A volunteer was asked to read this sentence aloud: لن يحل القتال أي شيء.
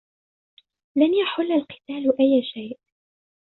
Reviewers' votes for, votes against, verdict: 3, 1, accepted